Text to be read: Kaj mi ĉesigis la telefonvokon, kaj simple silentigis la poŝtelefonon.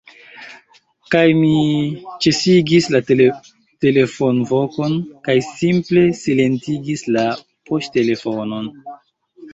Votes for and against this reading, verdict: 0, 2, rejected